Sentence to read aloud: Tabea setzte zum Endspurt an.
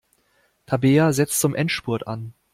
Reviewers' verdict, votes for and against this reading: rejected, 0, 2